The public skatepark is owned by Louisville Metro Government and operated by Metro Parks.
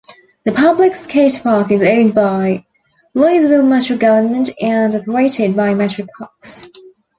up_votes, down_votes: 2, 1